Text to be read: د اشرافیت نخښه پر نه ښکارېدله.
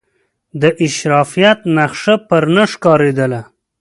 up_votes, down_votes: 2, 0